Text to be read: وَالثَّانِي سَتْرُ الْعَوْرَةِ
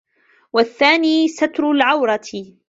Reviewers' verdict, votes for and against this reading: accepted, 2, 0